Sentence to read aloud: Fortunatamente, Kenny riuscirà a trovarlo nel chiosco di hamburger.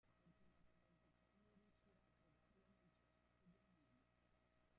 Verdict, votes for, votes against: rejected, 0, 2